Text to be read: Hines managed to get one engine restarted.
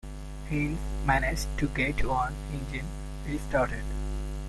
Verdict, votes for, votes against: accepted, 2, 1